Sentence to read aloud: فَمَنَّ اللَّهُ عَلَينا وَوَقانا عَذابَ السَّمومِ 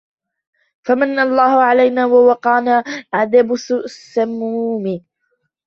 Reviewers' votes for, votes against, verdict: 0, 2, rejected